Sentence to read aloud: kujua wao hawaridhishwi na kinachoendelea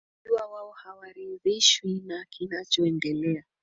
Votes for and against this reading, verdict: 4, 3, accepted